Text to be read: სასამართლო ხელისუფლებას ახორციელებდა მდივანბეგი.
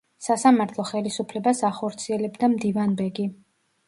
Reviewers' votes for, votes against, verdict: 2, 1, accepted